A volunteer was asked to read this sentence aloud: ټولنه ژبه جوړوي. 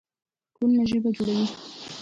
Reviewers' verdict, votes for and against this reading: accepted, 2, 1